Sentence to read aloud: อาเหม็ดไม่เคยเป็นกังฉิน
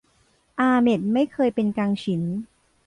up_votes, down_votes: 2, 0